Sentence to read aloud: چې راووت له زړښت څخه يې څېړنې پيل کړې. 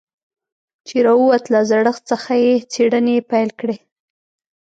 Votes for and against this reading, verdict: 2, 0, accepted